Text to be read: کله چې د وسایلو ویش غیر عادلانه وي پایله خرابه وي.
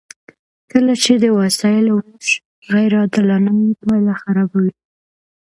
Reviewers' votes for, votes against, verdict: 2, 0, accepted